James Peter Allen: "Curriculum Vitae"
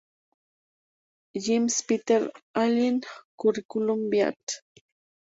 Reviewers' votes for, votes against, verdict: 0, 2, rejected